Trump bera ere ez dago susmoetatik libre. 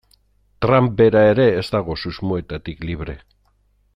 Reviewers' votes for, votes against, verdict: 0, 2, rejected